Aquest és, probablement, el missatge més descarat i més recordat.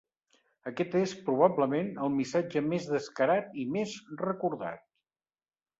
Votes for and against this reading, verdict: 2, 0, accepted